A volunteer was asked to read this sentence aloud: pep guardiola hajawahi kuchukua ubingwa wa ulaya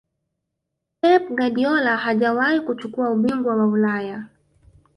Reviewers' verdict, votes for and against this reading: rejected, 1, 2